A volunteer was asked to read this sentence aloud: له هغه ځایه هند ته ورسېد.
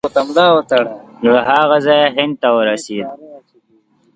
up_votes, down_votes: 0, 2